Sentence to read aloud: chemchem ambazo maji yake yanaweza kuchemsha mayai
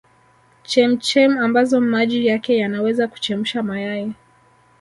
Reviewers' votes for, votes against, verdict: 2, 1, accepted